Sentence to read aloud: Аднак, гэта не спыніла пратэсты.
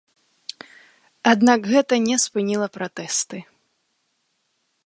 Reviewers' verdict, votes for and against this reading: accepted, 2, 0